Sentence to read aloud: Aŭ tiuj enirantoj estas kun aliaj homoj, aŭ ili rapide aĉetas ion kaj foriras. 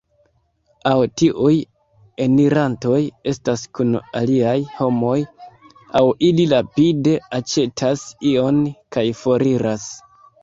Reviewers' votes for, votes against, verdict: 1, 2, rejected